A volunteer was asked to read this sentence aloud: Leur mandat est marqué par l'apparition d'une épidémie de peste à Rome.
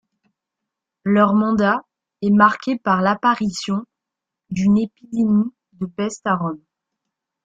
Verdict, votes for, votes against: accepted, 2, 0